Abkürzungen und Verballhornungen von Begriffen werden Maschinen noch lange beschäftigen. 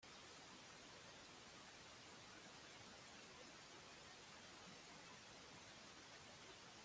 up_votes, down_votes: 0, 2